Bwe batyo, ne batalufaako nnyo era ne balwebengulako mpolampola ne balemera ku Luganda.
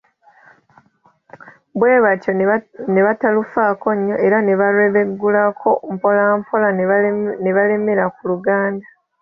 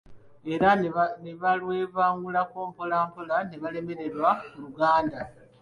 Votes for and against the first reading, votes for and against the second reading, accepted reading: 2, 1, 0, 2, first